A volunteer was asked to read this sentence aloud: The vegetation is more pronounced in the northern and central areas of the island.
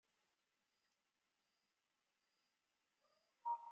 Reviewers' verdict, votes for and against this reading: rejected, 0, 2